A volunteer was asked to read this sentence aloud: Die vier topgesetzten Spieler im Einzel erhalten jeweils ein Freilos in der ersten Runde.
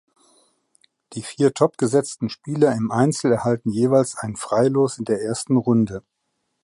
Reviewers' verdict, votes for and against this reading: accepted, 2, 0